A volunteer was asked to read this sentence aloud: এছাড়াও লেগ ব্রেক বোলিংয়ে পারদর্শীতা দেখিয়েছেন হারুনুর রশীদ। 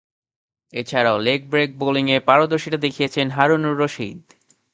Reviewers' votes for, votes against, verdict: 2, 0, accepted